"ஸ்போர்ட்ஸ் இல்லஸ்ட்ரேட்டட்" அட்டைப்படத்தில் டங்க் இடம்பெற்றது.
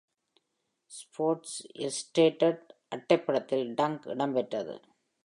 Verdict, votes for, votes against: rejected, 1, 2